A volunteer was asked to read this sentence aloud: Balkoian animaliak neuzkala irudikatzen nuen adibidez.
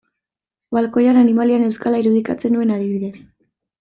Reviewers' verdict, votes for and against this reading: accepted, 2, 0